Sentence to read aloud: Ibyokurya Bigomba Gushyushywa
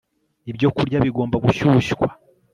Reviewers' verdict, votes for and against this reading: accepted, 2, 0